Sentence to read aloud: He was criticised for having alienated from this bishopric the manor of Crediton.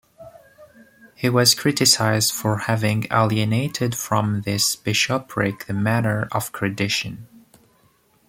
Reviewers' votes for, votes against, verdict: 0, 2, rejected